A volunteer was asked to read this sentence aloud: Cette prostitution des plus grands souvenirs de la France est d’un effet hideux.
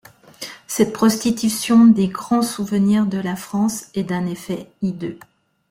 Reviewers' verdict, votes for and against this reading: rejected, 1, 2